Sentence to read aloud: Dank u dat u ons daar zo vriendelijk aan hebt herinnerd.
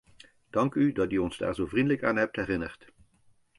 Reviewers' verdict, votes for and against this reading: accepted, 2, 0